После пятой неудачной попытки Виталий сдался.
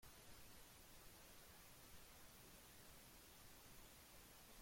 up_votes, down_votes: 0, 2